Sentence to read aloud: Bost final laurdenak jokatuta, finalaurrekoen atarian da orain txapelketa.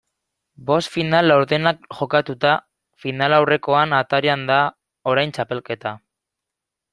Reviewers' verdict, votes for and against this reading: accepted, 2, 1